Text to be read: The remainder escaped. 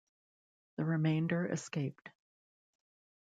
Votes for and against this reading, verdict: 2, 0, accepted